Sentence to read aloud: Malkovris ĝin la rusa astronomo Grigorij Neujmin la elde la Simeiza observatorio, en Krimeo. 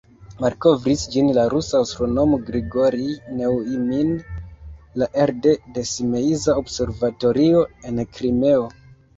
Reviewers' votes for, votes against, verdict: 0, 2, rejected